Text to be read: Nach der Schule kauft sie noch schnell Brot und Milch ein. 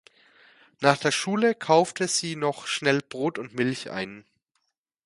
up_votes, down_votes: 1, 2